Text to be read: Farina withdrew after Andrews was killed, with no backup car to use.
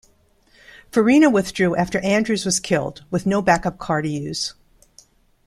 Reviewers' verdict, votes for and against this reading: rejected, 1, 2